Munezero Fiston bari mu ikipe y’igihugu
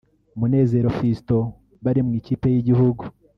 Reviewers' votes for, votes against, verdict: 1, 2, rejected